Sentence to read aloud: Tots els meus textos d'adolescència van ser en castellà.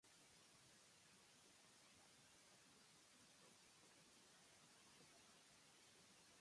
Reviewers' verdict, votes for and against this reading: rejected, 0, 2